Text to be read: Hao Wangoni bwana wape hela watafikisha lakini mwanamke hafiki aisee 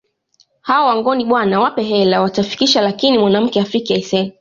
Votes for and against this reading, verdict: 2, 0, accepted